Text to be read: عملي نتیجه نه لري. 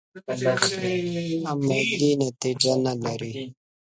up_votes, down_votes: 0, 2